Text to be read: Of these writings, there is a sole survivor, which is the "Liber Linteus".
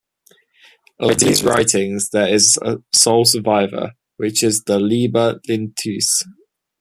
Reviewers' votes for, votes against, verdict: 2, 0, accepted